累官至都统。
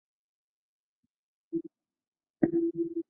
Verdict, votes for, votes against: rejected, 0, 4